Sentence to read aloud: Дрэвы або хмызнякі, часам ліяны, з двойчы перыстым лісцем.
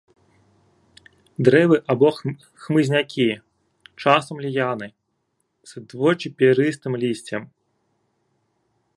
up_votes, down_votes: 0, 2